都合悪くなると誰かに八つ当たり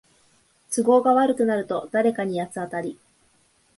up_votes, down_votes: 2, 0